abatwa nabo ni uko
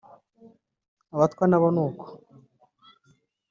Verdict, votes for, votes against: accepted, 2, 0